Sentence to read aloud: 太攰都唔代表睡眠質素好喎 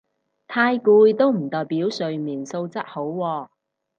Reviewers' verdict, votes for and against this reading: rejected, 2, 2